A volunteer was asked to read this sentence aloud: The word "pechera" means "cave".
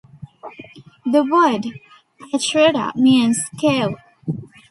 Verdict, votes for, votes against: rejected, 1, 2